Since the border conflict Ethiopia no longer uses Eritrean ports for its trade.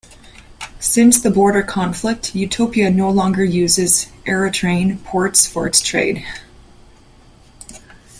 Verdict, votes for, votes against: rejected, 2, 3